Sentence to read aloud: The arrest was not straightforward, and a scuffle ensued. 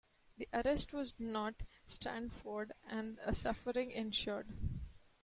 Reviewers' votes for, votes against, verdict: 0, 2, rejected